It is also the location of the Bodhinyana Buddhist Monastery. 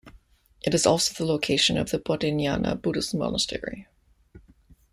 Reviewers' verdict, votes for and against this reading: accepted, 2, 0